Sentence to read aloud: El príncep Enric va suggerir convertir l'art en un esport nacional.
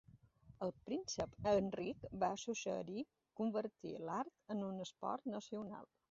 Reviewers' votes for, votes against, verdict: 1, 2, rejected